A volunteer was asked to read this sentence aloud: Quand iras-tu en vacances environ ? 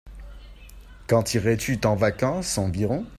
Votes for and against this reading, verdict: 0, 2, rejected